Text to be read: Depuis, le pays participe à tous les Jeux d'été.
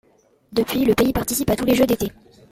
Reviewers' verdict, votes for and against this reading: accepted, 2, 0